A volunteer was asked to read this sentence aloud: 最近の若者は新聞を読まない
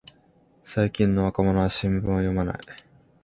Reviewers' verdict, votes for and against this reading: accepted, 3, 0